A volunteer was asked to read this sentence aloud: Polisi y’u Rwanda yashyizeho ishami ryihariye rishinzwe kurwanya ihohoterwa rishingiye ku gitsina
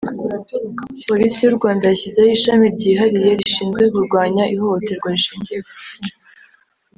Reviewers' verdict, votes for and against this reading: rejected, 1, 2